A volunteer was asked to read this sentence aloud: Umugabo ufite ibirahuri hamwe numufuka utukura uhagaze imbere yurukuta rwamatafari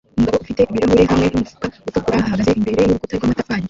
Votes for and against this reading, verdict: 0, 2, rejected